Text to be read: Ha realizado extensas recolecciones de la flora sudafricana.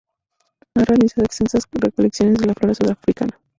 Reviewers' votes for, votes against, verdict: 0, 2, rejected